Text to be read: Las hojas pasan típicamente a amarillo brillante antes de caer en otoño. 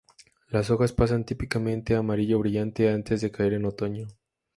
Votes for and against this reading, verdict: 2, 0, accepted